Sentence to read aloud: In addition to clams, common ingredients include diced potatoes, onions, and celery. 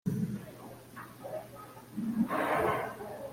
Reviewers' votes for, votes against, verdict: 0, 2, rejected